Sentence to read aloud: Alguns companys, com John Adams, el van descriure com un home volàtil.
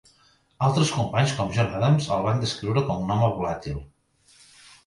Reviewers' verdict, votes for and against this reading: rejected, 0, 2